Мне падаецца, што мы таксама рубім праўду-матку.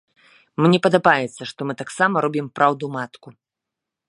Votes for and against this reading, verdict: 0, 2, rejected